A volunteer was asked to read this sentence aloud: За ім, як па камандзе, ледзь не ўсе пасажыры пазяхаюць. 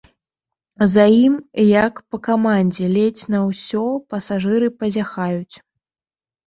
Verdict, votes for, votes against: rejected, 1, 2